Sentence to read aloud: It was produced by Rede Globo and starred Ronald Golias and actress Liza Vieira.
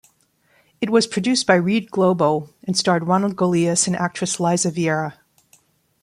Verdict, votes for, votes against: rejected, 0, 2